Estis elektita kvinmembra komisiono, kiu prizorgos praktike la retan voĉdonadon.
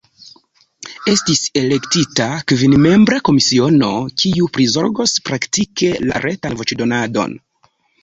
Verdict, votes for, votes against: rejected, 0, 2